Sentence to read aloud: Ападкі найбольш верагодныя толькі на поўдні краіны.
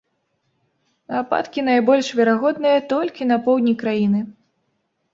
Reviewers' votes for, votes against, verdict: 2, 0, accepted